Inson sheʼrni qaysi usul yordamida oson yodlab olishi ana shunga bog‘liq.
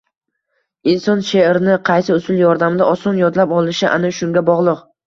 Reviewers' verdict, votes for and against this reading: rejected, 1, 2